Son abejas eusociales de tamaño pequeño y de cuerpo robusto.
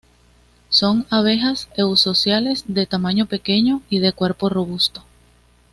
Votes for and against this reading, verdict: 2, 0, accepted